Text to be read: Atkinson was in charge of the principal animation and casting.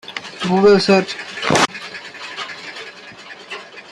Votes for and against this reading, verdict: 0, 2, rejected